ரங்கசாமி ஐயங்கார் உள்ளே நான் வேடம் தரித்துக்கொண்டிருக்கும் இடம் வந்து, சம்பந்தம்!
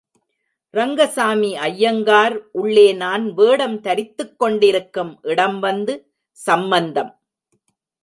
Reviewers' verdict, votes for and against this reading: rejected, 1, 2